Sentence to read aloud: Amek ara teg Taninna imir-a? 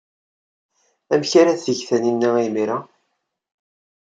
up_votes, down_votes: 2, 0